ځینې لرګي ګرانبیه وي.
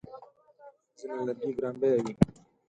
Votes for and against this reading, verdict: 2, 4, rejected